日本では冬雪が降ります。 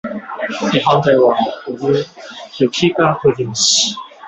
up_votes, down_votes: 1, 2